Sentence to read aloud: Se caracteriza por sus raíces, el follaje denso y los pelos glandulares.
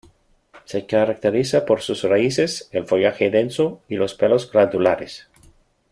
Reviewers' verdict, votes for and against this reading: accepted, 2, 0